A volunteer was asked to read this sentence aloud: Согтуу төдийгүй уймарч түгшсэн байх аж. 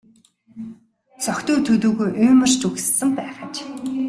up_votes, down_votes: 2, 0